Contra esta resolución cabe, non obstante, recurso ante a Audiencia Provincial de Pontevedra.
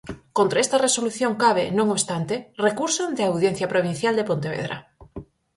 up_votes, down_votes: 4, 0